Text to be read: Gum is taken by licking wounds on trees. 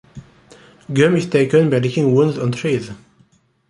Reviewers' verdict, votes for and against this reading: accepted, 2, 0